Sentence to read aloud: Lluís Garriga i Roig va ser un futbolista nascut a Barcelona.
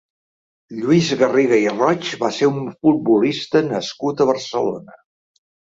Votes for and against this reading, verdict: 0, 2, rejected